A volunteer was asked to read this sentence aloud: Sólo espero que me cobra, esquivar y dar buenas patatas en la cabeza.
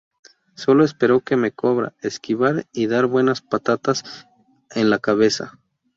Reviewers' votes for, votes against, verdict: 2, 0, accepted